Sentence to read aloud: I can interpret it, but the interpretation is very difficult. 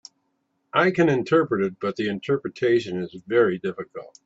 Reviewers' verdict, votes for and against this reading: accepted, 5, 0